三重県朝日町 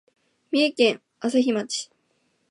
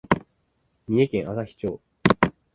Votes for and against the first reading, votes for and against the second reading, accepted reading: 2, 0, 0, 2, first